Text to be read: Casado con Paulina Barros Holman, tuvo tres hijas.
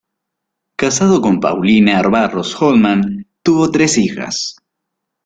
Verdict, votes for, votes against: rejected, 0, 2